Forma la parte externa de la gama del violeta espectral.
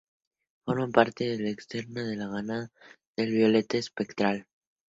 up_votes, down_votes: 0, 2